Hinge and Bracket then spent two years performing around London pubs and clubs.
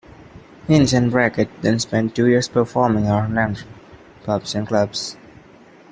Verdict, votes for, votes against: rejected, 0, 2